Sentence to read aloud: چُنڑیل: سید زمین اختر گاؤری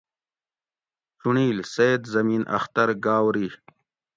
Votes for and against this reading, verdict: 2, 0, accepted